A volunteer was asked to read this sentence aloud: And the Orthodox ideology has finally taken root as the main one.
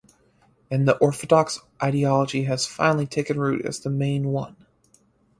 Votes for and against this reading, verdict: 4, 0, accepted